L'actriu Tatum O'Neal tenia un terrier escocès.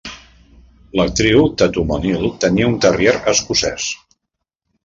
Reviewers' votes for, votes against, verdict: 2, 0, accepted